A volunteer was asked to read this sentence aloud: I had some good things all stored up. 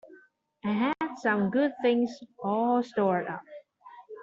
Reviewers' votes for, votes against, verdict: 2, 0, accepted